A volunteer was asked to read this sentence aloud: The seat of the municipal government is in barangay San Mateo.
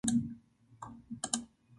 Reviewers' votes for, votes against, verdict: 0, 2, rejected